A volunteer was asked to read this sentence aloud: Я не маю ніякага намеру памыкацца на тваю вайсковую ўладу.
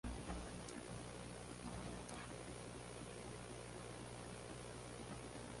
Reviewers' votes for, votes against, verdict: 0, 2, rejected